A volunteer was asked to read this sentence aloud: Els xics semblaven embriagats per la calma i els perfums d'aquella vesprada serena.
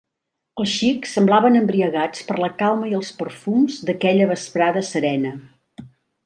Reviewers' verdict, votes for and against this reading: accepted, 2, 0